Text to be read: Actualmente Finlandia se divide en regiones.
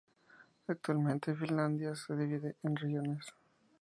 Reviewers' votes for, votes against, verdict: 2, 0, accepted